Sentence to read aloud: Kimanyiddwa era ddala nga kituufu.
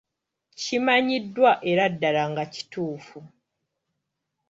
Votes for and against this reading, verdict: 2, 0, accepted